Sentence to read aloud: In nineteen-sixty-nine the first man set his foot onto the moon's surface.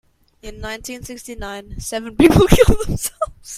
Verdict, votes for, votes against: rejected, 0, 2